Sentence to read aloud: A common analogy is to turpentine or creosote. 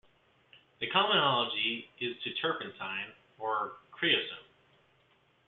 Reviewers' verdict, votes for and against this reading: accepted, 2, 1